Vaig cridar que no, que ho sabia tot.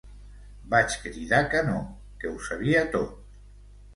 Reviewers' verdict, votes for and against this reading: accepted, 2, 0